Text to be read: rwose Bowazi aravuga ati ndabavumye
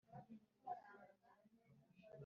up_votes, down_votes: 1, 2